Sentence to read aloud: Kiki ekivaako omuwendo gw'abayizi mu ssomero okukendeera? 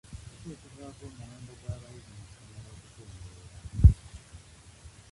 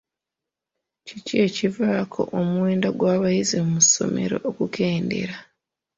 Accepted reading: second